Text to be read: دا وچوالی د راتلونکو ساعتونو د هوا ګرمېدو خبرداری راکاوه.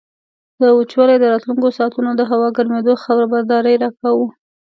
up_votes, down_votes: 1, 2